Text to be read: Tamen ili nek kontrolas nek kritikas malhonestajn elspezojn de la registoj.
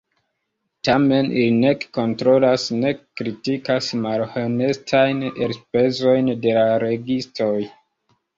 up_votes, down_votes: 1, 4